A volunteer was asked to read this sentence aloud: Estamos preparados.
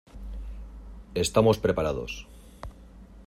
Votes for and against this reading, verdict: 2, 0, accepted